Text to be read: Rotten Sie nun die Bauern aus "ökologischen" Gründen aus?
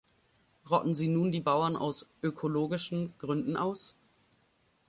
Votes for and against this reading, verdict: 2, 0, accepted